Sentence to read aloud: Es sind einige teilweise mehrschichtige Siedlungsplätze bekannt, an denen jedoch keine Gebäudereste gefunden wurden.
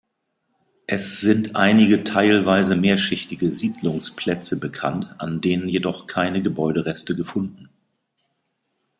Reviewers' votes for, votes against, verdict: 1, 2, rejected